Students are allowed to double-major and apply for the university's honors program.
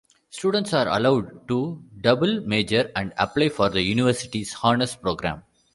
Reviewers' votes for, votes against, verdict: 2, 0, accepted